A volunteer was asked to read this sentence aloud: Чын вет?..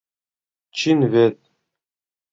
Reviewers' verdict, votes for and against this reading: rejected, 1, 2